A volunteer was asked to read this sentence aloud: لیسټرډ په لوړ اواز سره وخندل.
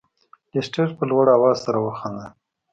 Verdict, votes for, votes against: accepted, 2, 0